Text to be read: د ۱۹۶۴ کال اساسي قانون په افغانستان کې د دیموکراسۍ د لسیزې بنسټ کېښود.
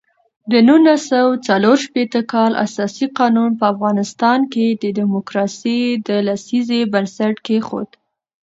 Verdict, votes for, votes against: rejected, 0, 2